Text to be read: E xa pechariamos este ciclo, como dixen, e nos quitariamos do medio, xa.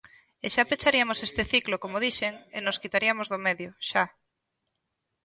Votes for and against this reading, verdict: 2, 0, accepted